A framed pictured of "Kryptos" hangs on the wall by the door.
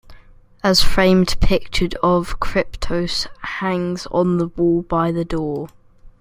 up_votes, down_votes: 2, 0